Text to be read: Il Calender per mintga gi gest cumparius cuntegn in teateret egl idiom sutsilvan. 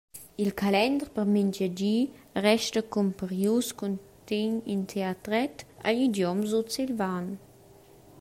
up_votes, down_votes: 0, 2